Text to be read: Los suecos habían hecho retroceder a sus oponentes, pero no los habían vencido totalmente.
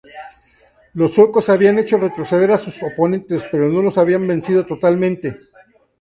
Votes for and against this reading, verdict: 2, 0, accepted